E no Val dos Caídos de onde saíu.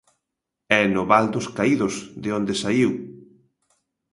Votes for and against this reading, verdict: 2, 0, accepted